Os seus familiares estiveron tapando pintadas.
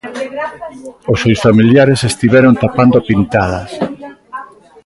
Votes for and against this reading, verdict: 2, 1, accepted